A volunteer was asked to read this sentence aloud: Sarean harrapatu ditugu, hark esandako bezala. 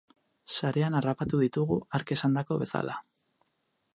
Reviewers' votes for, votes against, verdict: 2, 0, accepted